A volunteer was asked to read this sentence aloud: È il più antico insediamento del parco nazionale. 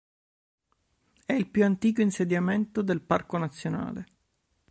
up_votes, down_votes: 2, 0